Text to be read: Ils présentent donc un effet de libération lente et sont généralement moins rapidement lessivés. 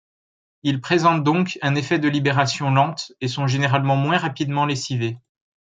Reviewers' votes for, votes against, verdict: 2, 0, accepted